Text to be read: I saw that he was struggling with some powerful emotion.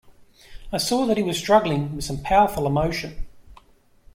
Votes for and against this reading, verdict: 2, 0, accepted